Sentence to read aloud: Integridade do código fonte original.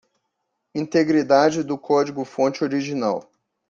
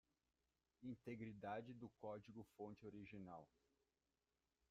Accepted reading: first